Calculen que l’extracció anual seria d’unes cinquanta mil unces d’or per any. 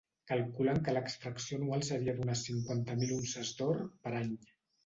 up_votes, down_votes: 2, 0